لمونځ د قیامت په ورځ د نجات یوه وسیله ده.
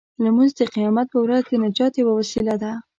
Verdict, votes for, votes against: accepted, 2, 0